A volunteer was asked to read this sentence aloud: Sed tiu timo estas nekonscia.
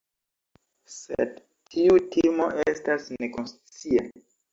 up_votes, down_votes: 1, 2